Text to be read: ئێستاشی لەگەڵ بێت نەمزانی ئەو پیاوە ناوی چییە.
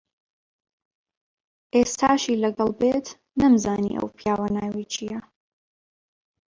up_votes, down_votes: 2, 1